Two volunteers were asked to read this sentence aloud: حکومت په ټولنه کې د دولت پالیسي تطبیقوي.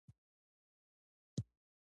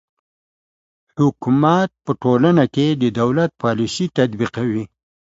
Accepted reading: second